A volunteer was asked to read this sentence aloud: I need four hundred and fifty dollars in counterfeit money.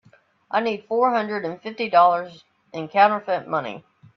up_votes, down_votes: 3, 0